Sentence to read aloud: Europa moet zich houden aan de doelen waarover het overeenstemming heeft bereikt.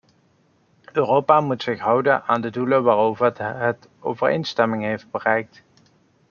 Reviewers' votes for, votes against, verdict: 0, 2, rejected